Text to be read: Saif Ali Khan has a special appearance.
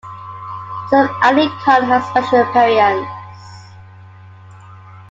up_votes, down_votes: 1, 2